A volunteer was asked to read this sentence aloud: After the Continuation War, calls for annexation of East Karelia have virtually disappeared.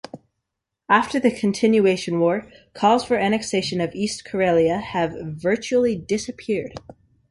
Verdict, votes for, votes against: accepted, 2, 0